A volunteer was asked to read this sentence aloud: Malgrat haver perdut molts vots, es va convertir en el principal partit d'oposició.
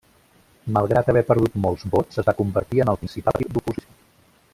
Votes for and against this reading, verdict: 0, 2, rejected